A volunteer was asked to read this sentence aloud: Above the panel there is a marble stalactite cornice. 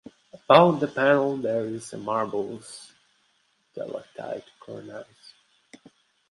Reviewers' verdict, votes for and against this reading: rejected, 0, 2